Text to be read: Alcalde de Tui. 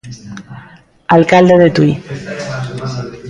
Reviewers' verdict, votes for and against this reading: rejected, 1, 2